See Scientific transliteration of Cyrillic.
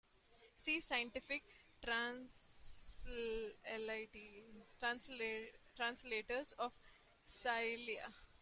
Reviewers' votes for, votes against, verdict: 0, 2, rejected